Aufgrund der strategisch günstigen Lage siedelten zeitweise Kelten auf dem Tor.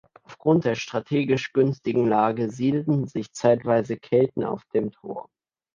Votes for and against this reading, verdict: 0, 2, rejected